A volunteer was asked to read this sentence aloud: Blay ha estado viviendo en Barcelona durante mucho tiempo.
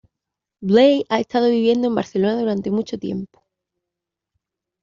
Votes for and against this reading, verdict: 2, 0, accepted